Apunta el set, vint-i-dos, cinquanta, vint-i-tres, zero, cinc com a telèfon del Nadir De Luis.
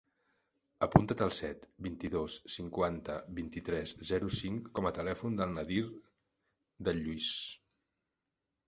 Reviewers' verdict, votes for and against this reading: rejected, 1, 2